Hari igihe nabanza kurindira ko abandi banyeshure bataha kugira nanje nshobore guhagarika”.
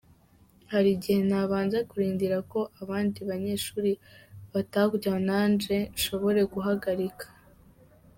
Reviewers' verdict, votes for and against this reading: rejected, 1, 2